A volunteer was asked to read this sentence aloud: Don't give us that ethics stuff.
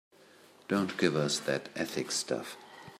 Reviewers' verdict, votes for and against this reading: accepted, 3, 0